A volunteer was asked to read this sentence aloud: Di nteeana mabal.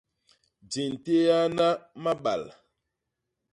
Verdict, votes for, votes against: accepted, 2, 0